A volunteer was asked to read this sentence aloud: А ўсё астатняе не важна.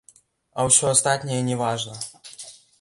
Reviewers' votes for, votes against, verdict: 1, 2, rejected